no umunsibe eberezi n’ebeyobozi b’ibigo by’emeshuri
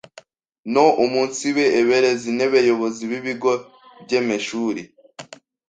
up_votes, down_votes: 1, 2